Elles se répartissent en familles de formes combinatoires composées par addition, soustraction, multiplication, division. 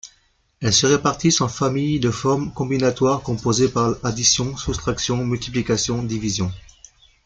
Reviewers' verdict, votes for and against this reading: rejected, 0, 2